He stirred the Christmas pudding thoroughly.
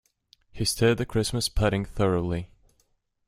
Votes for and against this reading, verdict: 2, 0, accepted